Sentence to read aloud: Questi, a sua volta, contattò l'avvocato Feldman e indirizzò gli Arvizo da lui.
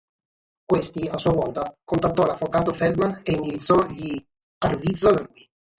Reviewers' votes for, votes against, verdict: 3, 3, rejected